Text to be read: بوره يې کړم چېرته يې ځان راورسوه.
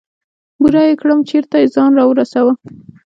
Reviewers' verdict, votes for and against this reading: rejected, 1, 2